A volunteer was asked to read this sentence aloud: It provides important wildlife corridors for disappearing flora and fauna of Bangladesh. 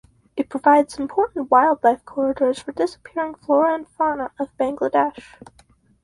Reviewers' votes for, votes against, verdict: 2, 2, rejected